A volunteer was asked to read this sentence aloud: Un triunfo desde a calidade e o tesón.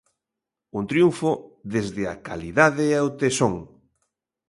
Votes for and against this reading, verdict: 2, 1, accepted